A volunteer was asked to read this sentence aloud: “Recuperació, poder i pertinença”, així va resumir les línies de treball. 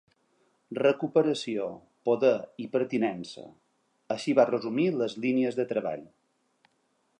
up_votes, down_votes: 3, 0